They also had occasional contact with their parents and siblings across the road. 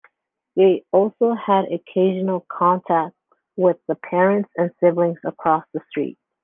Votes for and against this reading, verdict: 0, 2, rejected